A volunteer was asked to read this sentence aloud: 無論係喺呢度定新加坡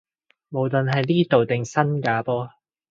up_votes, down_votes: 0, 2